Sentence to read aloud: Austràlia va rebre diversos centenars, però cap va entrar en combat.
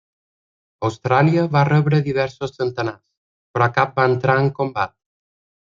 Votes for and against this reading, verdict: 1, 2, rejected